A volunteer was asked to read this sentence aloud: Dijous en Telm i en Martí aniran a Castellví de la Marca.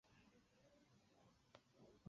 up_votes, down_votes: 0, 4